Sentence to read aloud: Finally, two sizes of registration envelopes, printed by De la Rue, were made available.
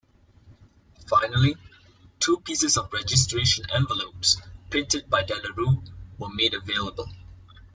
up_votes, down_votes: 0, 2